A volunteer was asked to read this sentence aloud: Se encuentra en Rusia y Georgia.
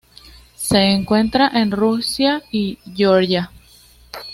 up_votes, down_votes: 2, 0